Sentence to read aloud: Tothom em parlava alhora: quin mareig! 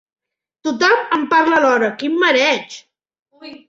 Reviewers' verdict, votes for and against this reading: rejected, 2, 4